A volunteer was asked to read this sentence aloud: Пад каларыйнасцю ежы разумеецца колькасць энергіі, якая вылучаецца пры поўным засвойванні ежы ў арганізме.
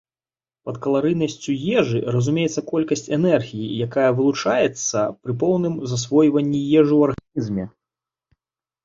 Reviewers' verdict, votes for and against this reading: rejected, 1, 2